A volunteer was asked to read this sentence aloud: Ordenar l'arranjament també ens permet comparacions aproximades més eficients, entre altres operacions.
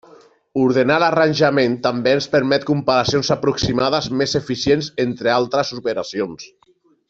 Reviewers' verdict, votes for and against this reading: accepted, 3, 0